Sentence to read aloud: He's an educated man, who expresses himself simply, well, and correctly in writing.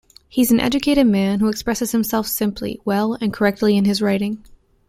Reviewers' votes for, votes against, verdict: 1, 2, rejected